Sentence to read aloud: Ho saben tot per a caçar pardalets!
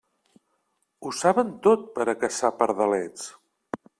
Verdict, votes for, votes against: accepted, 2, 0